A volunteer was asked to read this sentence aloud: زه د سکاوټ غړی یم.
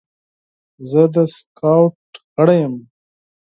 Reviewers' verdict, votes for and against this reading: rejected, 0, 4